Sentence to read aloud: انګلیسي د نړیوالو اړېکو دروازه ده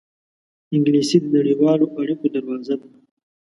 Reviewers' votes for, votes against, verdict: 2, 0, accepted